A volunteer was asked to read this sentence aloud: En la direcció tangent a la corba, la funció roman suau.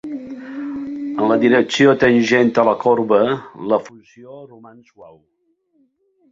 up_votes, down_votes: 0, 2